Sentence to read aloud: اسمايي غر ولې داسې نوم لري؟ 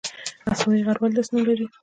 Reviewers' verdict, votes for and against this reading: accepted, 2, 0